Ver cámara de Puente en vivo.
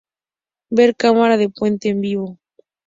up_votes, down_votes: 4, 0